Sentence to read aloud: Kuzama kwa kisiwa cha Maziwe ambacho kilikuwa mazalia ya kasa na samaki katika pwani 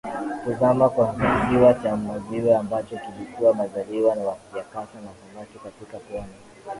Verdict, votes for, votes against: accepted, 7, 1